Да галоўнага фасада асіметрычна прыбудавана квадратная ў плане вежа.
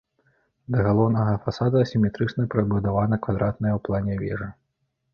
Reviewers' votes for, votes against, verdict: 2, 0, accepted